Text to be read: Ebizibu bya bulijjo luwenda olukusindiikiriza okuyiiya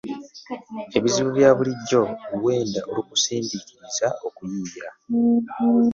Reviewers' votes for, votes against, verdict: 1, 2, rejected